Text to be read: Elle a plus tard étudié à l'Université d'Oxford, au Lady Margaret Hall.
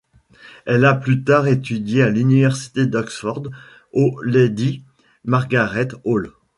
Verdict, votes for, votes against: rejected, 1, 2